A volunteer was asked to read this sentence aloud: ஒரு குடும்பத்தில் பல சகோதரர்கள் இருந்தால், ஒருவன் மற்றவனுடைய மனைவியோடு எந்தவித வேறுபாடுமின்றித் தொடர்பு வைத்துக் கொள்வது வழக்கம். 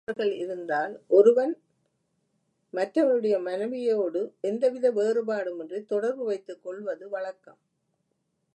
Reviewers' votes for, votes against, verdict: 0, 2, rejected